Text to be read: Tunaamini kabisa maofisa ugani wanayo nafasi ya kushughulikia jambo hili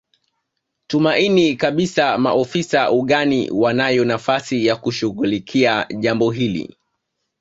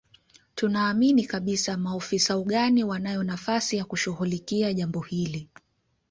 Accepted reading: second